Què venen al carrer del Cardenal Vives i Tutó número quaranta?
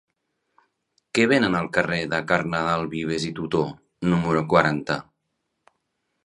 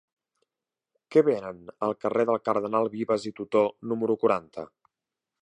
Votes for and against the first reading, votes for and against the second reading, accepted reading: 0, 2, 2, 0, second